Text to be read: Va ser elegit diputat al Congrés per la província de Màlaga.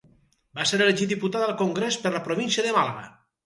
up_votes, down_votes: 2, 2